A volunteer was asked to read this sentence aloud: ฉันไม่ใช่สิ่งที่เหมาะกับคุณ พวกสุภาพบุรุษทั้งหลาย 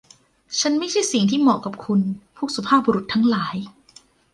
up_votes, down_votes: 2, 1